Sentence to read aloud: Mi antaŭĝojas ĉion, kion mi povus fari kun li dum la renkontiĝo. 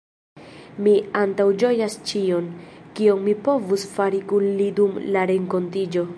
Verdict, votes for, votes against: accepted, 2, 0